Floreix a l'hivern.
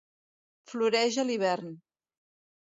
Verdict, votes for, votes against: accepted, 3, 0